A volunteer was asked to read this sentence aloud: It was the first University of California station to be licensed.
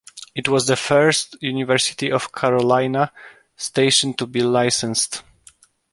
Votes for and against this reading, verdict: 0, 2, rejected